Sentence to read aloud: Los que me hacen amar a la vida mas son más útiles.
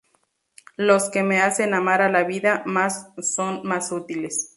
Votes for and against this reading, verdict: 0, 2, rejected